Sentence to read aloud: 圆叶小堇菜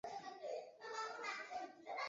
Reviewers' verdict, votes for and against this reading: rejected, 1, 2